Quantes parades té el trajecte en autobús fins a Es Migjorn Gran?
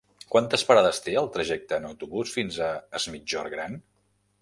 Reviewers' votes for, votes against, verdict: 1, 2, rejected